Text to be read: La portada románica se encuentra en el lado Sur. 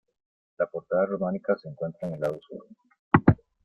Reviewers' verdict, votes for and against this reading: accepted, 2, 0